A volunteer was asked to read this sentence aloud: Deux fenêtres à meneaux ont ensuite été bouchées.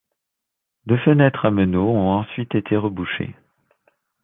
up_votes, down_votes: 1, 2